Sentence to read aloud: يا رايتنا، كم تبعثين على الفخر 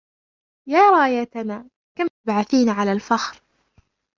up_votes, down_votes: 1, 2